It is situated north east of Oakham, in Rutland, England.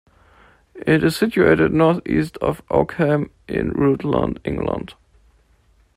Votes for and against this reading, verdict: 2, 0, accepted